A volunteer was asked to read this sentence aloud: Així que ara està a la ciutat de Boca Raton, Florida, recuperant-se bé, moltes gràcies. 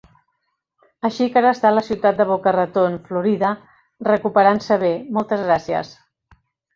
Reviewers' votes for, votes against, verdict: 2, 0, accepted